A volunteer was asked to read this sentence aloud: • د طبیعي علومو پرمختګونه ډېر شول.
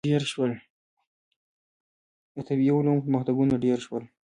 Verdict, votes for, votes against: accepted, 2, 0